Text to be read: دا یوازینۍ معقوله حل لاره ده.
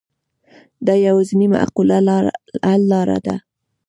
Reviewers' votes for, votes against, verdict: 0, 2, rejected